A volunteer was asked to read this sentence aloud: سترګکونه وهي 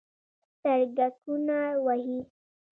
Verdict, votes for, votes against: rejected, 0, 2